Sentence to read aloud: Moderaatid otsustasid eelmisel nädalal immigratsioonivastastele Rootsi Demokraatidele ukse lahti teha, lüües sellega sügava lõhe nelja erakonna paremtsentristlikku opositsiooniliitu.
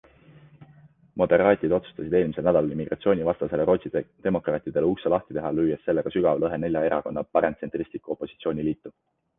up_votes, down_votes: 2, 1